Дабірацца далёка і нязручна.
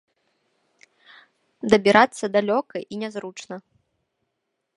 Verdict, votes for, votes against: accepted, 2, 1